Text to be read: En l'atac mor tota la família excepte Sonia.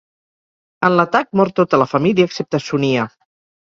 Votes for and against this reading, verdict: 2, 4, rejected